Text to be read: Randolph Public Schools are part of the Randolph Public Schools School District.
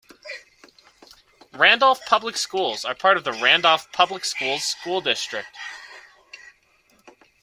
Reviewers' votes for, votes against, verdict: 2, 1, accepted